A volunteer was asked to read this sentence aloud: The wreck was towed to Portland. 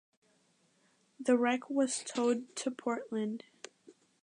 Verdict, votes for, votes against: accepted, 2, 0